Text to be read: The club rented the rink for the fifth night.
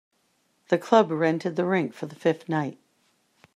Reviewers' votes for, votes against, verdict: 1, 2, rejected